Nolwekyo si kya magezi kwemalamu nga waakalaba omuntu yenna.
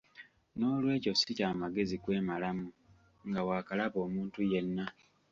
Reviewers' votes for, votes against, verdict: 2, 0, accepted